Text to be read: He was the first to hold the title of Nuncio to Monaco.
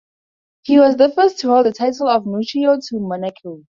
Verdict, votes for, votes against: rejected, 2, 2